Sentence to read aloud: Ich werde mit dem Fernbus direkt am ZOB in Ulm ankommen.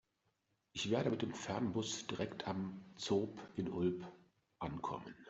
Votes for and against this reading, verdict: 1, 2, rejected